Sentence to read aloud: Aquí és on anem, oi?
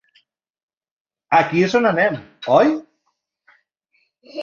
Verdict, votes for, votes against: accepted, 2, 0